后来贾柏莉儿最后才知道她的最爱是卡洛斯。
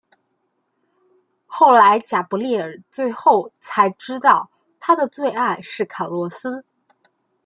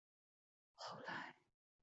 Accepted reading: first